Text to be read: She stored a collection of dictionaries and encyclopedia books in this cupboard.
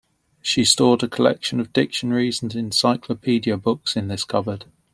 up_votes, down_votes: 2, 0